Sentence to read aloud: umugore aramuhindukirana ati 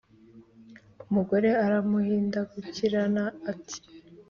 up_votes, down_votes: 2, 0